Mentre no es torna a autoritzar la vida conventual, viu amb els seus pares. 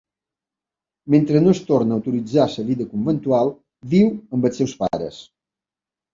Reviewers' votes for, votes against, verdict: 0, 2, rejected